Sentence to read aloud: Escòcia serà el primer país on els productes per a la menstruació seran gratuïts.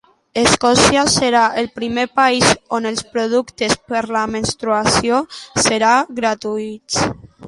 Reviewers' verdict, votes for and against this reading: rejected, 0, 2